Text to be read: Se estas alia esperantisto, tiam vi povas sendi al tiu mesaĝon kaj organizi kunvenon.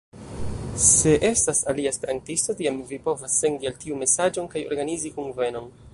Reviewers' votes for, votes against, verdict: 1, 2, rejected